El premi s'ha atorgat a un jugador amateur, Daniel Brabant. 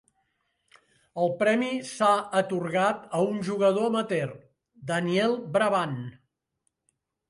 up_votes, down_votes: 2, 0